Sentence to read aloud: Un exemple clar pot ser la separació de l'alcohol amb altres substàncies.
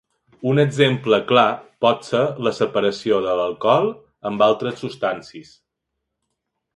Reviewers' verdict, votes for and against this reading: rejected, 1, 2